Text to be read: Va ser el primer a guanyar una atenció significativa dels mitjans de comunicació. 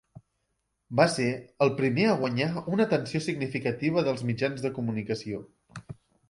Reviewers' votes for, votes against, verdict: 0, 2, rejected